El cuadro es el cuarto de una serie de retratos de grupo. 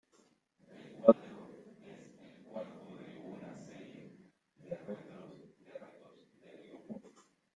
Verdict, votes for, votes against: rejected, 0, 2